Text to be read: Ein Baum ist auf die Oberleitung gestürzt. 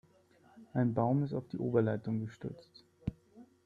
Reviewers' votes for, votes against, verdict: 3, 0, accepted